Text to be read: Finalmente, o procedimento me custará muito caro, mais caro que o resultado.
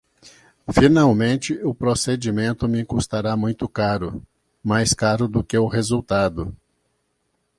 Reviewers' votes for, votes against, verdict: 1, 2, rejected